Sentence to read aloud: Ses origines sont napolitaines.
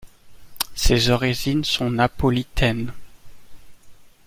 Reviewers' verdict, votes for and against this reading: accepted, 2, 0